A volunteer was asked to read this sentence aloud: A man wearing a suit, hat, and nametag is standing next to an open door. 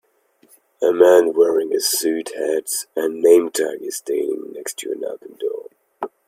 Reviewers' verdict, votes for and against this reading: accepted, 2, 1